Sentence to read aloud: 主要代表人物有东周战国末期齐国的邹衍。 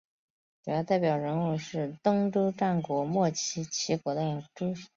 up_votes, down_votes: 1, 4